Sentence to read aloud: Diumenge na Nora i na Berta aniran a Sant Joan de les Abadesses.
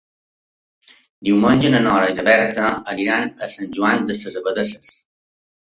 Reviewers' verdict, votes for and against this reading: rejected, 0, 2